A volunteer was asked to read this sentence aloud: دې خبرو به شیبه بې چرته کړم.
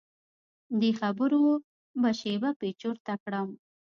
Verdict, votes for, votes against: rejected, 1, 2